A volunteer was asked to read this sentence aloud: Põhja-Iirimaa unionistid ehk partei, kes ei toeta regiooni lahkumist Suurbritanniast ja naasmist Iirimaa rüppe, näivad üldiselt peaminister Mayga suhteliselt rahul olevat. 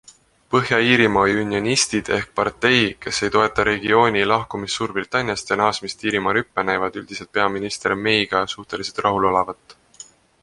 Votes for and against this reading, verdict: 2, 0, accepted